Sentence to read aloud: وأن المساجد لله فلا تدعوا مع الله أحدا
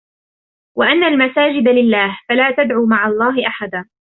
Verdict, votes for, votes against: rejected, 1, 2